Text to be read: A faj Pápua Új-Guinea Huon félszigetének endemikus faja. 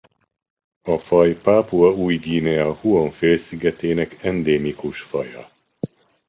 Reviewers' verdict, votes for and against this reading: rejected, 1, 2